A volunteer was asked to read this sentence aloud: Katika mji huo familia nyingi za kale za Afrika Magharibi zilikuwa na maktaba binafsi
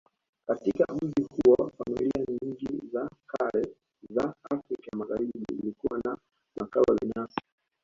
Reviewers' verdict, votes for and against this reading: rejected, 0, 2